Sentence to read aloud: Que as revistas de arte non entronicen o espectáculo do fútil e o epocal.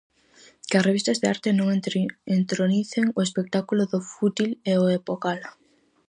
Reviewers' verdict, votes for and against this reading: rejected, 0, 4